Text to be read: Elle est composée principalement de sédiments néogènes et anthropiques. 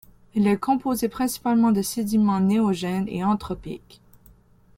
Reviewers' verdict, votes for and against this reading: accepted, 2, 0